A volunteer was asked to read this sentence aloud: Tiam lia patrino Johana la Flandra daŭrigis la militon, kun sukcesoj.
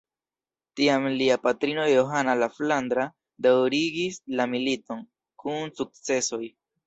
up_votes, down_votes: 2, 0